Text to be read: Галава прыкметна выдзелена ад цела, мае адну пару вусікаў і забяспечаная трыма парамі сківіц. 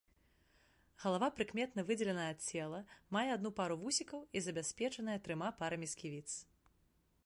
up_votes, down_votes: 1, 2